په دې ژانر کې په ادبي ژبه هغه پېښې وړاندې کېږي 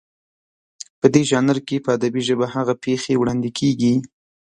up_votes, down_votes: 2, 0